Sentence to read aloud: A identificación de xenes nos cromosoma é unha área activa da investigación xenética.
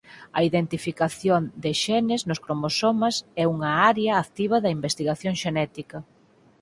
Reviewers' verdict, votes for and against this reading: rejected, 2, 4